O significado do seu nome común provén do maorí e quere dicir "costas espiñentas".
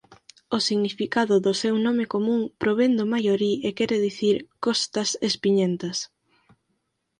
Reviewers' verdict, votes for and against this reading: rejected, 0, 4